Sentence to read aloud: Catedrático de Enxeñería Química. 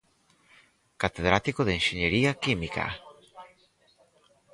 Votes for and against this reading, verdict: 2, 4, rejected